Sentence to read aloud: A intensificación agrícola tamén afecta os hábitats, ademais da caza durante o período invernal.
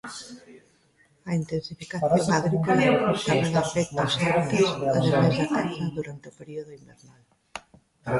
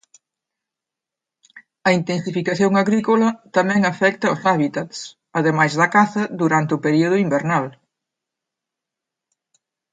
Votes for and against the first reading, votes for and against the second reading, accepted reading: 0, 2, 2, 0, second